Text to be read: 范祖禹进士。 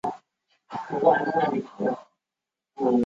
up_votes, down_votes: 0, 4